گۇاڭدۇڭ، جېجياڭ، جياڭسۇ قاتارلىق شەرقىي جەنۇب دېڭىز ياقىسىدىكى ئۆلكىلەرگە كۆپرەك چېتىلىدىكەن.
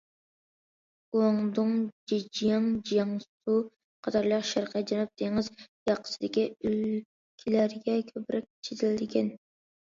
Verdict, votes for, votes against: rejected, 0, 2